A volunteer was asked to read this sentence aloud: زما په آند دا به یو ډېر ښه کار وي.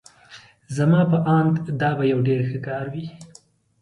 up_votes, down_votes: 2, 0